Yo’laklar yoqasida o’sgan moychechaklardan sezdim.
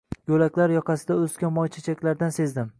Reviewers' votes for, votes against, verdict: 2, 0, accepted